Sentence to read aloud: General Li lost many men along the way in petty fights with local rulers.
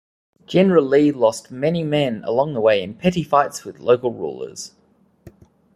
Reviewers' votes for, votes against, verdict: 2, 0, accepted